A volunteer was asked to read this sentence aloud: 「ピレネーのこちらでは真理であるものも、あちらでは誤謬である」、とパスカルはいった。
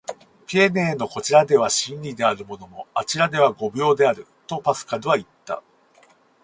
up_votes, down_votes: 0, 2